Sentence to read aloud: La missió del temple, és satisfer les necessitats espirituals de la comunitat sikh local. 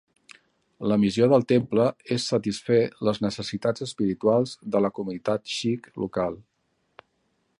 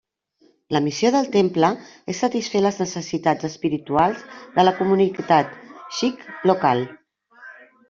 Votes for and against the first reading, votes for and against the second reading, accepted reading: 2, 0, 1, 2, first